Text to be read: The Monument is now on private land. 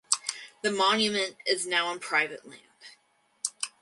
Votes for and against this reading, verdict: 2, 4, rejected